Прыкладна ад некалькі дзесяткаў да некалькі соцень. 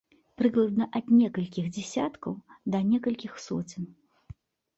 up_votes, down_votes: 0, 2